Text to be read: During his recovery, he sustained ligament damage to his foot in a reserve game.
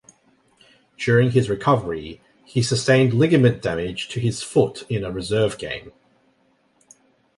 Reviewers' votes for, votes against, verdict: 2, 0, accepted